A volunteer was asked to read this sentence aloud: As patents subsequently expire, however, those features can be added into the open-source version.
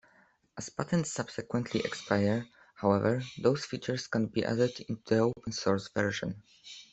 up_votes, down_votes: 2, 0